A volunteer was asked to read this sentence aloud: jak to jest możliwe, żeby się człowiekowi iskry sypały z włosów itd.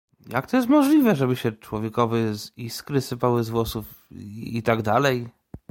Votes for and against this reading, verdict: 1, 2, rejected